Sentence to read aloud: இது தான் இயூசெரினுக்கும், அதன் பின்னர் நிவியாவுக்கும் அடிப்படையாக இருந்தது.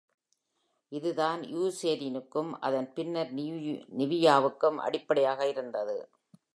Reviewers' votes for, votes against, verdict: 2, 1, accepted